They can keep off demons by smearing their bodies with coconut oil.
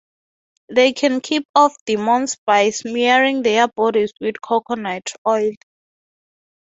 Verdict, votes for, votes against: accepted, 3, 0